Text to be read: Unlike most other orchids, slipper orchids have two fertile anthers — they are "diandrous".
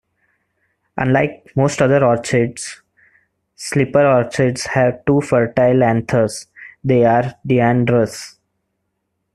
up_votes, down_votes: 1, 2